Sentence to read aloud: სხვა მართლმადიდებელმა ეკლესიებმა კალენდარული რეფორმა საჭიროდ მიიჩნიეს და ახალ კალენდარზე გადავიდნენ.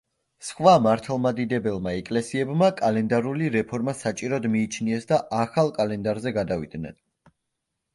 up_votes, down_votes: 2, 0